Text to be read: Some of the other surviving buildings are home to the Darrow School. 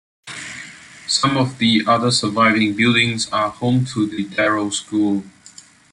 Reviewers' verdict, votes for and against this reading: accepted, 2, 0